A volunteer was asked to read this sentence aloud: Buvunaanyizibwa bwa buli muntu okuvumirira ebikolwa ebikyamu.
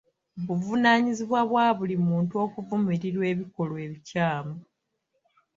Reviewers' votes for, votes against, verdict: 1, 2, rejected